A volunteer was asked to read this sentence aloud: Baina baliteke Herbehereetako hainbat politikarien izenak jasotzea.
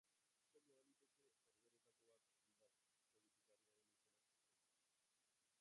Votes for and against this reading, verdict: 0, 3, rejected